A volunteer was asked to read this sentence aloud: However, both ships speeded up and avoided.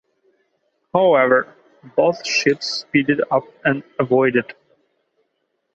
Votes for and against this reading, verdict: 2, 0, accepted